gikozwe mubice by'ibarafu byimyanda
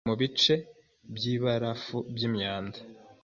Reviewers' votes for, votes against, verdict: 0, 2, rejected